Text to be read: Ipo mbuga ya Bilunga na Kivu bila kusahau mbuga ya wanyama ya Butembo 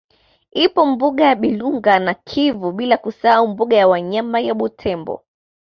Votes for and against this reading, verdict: 2, 0, accepted